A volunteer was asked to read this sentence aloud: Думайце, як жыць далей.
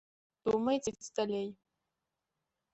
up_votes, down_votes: 0, 2